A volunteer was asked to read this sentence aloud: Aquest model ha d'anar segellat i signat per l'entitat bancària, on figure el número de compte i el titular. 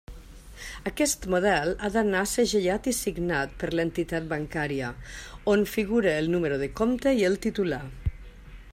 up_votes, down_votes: 2, 0